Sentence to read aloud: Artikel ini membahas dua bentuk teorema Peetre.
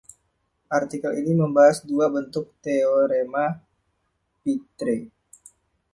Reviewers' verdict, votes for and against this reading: accepted, 2, 0